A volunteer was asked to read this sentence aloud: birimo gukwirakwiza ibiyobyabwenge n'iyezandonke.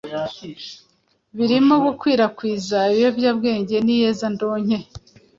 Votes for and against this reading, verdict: 2, 0, accepted